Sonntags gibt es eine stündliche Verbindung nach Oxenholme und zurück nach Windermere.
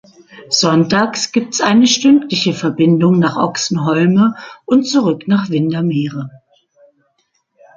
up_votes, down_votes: 2, 0